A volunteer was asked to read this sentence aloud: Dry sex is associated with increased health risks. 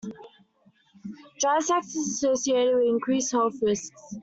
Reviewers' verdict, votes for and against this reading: accepted, 2, 0